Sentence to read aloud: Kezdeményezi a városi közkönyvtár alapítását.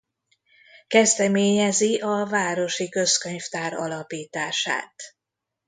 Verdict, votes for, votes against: accepted, 2, 0